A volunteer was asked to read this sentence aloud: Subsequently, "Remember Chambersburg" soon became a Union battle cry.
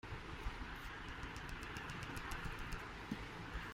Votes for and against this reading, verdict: 0, 2, rejected